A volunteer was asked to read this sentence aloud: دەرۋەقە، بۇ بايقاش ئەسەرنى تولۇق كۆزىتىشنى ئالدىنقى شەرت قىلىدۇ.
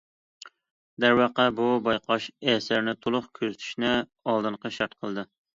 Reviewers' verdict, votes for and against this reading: rejected, 0, 2